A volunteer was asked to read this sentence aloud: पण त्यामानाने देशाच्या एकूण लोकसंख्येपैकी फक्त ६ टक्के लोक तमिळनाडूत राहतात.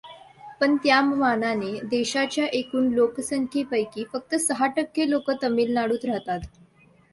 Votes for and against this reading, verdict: 0, 2, rejected